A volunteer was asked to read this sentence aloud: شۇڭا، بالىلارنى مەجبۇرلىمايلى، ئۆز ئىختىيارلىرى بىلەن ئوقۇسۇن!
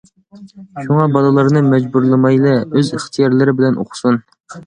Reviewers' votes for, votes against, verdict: 2, 0, accepted